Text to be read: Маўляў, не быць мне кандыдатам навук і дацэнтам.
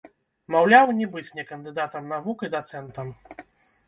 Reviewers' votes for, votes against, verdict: 0, 2, rejected